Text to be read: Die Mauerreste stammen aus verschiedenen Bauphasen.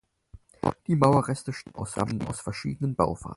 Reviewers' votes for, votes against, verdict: 0, 4, rejected